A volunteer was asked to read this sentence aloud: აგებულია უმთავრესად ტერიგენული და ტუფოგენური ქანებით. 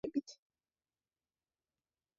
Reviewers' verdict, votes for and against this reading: rejected, 0, 2